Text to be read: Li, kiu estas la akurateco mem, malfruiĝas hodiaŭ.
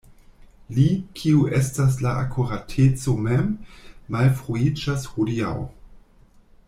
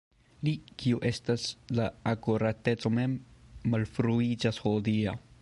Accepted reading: first